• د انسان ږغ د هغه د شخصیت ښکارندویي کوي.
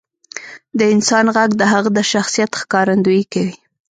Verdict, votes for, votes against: rejected, 0, 2